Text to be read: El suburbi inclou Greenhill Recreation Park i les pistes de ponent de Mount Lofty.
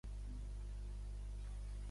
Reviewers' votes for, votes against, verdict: 0, 2, rejected